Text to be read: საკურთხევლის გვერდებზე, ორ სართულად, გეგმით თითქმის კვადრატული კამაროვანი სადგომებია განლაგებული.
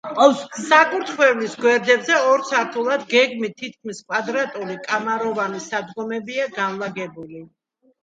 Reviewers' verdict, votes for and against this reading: accepted, 2, 0